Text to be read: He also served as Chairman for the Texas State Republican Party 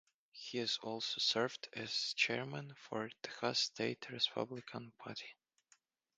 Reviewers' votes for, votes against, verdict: 0, 2, rejected